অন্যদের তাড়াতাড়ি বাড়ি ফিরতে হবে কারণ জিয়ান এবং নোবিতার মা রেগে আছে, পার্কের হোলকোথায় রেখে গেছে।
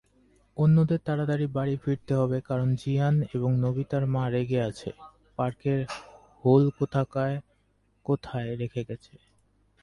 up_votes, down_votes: 2, 2